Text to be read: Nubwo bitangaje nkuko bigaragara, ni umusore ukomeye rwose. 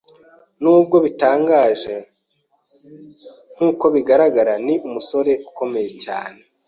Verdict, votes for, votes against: rejected, 0, 2